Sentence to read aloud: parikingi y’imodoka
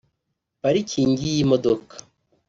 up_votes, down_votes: 2, 0